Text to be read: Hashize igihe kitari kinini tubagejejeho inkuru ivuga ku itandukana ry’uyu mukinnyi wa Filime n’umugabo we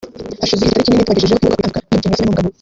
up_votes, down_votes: 1, 2